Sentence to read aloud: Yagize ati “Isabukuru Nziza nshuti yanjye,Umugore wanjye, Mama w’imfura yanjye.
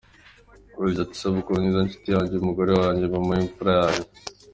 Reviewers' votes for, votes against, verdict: 2, 0, accepted